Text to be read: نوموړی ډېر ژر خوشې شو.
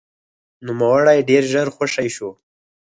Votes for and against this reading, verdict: 6, 0, accepted